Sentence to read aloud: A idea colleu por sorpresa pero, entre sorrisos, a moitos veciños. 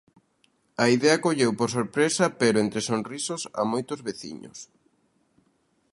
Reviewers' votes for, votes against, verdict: 0, 2, rejected